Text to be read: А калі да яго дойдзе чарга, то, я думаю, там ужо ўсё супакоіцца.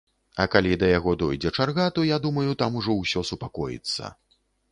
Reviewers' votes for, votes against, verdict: 2, 0, accepted